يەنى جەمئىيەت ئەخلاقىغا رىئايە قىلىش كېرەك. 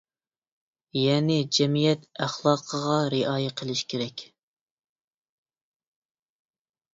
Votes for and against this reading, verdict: 2, 0, accepted